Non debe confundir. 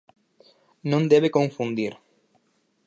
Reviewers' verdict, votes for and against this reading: accepted, 4, 0